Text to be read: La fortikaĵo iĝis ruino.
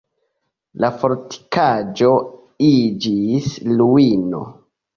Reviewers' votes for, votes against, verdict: 1, 2, rejected